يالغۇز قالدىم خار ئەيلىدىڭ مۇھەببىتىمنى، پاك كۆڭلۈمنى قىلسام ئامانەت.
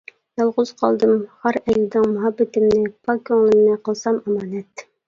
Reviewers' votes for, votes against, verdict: 1, 2, rejected